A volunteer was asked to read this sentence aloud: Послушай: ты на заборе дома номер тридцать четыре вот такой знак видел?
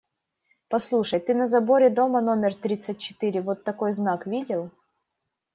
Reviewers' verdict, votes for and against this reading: accepted, 2, 0